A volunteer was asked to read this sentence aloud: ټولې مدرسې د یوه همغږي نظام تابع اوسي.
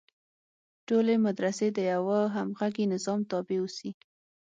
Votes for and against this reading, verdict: 6, 0, accepted